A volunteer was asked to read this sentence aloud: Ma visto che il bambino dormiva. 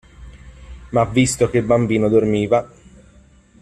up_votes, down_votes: 1, 2